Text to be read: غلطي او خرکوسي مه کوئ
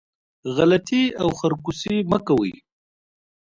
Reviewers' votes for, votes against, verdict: 2, 0, accepted